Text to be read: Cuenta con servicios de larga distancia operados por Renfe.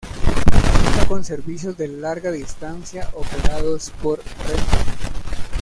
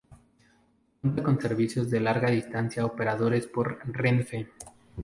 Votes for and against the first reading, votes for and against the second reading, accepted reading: 0, 2, 2, 0, second